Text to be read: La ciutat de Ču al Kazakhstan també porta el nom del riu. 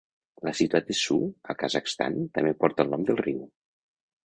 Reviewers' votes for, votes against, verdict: 1, 2, rejected